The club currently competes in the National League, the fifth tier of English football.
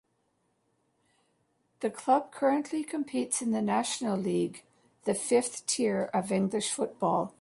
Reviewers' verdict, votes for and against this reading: accepted, 2, 1